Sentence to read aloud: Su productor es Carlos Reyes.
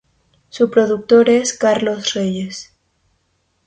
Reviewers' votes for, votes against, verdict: 2, 0, accepted